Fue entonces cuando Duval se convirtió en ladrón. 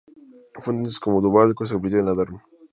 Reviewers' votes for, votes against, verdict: 0, 2, rejected